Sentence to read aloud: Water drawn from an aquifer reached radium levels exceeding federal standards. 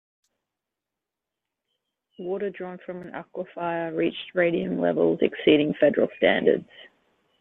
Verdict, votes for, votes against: accepted, 2, 1